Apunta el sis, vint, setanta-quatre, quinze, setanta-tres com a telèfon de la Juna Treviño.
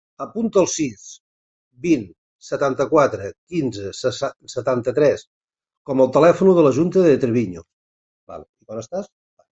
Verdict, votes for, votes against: rejected, 0, 2